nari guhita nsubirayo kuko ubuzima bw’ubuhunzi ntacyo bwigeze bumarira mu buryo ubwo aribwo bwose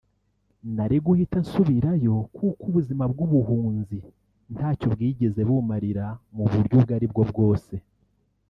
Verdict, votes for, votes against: rejected, 1, 2